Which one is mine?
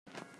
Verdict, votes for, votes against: rejected, 0, 2